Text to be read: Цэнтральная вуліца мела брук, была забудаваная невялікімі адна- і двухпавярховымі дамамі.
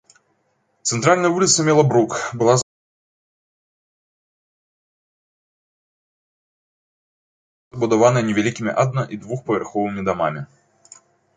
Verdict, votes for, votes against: rejected, 0, 3